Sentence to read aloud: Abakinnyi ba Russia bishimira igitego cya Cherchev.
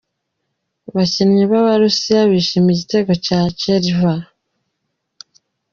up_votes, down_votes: 0, 2